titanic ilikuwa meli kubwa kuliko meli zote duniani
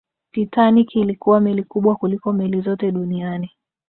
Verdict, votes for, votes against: accepted, 2, 0